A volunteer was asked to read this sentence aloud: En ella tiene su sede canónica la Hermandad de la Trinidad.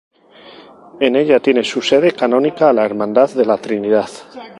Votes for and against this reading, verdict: 2, 2, rejected